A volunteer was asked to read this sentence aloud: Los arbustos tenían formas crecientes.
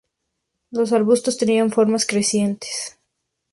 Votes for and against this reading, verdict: 2, 0, accepted